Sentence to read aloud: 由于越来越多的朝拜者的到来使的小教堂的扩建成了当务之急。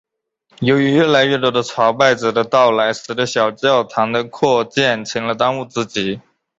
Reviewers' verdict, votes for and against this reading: accepted, 3, 0